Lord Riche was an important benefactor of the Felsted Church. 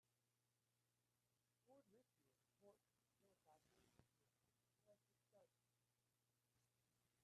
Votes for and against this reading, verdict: 0, 2, rejected